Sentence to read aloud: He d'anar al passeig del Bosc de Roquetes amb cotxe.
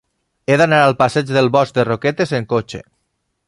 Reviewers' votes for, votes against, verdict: 1, 3, rejected